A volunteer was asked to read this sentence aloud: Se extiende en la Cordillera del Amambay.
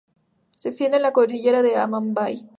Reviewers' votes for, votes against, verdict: 2, 0, accepted